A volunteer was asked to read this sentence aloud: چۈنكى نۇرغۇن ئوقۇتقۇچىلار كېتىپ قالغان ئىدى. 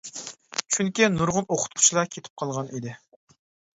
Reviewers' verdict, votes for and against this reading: accepted, 2, 0